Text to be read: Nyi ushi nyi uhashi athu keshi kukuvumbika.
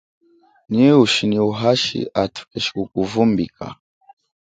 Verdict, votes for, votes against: accepted, 2, 0